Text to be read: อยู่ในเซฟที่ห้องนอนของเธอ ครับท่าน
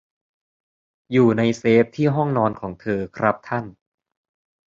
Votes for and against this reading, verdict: 2, 0, accepted